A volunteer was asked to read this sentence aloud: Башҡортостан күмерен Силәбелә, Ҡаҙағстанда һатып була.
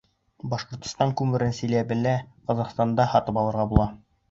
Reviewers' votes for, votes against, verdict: 0, 2, rejected